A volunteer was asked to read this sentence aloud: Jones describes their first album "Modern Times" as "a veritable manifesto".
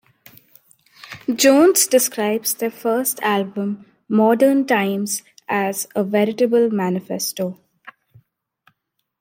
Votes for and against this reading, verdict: 2, 0, accepted